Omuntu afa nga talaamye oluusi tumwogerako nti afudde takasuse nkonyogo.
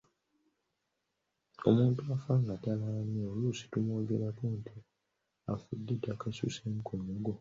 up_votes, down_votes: 1, 2